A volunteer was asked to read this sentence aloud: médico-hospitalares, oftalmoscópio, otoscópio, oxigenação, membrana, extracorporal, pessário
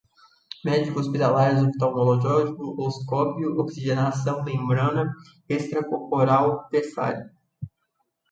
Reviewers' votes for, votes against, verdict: 0, 2, rejected